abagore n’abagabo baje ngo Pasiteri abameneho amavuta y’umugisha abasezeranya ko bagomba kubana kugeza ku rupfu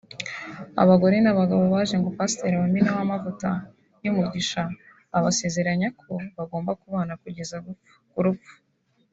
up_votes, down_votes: 0, 2